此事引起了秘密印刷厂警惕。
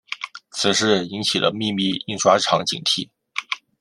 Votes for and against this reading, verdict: 2, 0, accepted